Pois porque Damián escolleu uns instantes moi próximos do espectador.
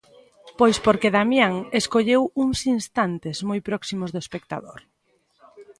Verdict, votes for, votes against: accepted, 2, 0